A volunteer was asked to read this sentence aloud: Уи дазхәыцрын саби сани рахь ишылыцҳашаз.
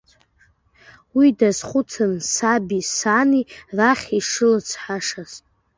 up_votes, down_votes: 2, 0